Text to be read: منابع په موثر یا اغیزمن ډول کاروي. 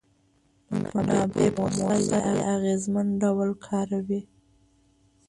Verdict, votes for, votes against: rejected, 0, 2